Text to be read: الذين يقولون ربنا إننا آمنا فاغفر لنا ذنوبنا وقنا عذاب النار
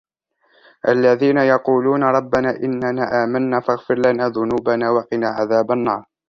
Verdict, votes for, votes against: rejected, 1, 2